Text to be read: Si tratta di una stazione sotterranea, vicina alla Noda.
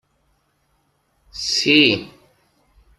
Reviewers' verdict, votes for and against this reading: rejected, 0, 2